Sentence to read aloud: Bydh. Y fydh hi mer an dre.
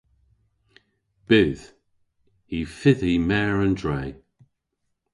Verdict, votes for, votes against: accepted, 2, 0